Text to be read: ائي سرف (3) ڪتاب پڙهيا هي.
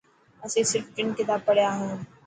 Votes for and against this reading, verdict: 0, 2, rejected